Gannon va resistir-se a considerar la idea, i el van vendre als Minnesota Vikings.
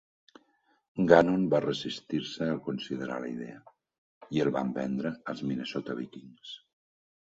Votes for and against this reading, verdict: 5, 0, accepted